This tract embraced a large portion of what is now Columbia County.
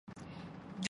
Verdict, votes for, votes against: rejected, 0, 2